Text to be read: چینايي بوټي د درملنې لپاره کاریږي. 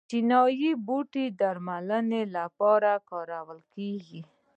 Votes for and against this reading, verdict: 2, 1, accepted